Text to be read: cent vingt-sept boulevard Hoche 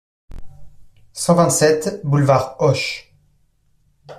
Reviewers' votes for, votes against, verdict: 2, 0, accepted